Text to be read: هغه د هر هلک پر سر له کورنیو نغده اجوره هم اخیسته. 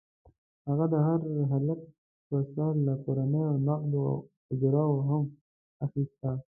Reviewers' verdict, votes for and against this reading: rejected, 1, 2